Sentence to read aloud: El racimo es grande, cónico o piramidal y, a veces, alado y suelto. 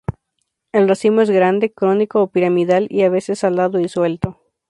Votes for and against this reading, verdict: 0, 2, rejected